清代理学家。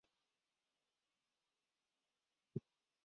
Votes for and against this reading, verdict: 0, 2, rejected